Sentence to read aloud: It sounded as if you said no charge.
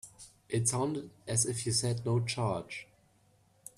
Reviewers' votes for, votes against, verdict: 2, 0, accepted